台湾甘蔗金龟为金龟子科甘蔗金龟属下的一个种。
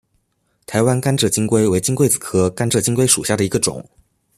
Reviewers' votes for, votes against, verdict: 2, 0, accepted